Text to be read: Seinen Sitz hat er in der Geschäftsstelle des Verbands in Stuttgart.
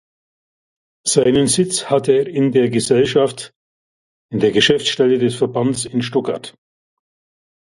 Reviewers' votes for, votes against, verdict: 0, 2, rejected